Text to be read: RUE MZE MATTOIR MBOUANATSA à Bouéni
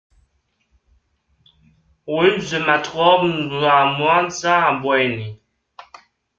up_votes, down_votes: 0, 2